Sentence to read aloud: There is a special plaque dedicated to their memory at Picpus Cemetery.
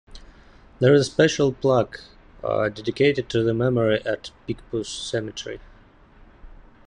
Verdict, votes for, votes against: rejected, 1, 2